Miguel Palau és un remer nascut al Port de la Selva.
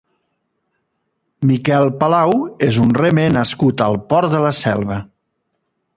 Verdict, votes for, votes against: accepted, 2, 1